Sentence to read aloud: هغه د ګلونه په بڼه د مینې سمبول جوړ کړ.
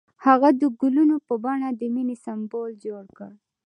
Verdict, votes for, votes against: accepted, 2, 0